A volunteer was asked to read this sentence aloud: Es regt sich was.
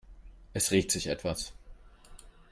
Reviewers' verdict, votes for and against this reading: rejected, 0, 3